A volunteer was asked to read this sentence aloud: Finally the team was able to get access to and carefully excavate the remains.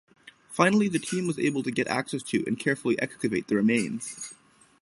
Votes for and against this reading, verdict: 3, 3, rejected